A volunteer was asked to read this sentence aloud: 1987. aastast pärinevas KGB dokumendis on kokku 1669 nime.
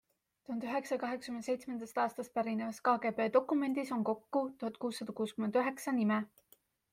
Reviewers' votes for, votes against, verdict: 0, 2, rejected